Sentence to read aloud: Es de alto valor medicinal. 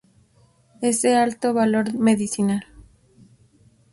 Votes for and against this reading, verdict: 2, 0, accepted